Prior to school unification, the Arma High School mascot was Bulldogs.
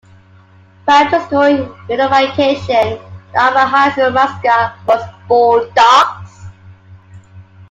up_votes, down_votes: 2, 0